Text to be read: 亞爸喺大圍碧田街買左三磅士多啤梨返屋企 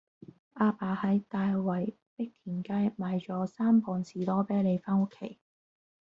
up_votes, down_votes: 1, 2